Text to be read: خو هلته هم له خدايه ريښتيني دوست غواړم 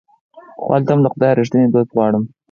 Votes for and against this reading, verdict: 0, 4, rejected